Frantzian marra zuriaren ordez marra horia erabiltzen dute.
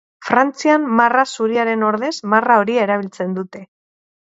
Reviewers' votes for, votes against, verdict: 4, 0, accepted